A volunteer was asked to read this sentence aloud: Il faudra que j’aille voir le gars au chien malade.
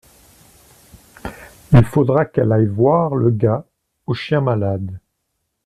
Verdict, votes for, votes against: rejected, 0, 2